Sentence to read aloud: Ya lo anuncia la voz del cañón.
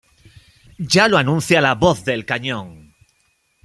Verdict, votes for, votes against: accepted, 2, 0